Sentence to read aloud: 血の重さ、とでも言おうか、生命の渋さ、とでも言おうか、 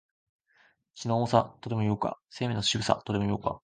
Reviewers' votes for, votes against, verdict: 3, 0, accepted